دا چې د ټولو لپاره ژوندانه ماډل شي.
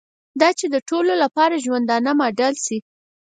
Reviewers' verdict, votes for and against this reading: accepted, 6, 0